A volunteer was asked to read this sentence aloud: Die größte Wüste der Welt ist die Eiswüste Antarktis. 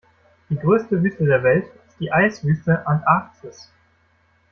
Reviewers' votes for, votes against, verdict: 0, 2, rejected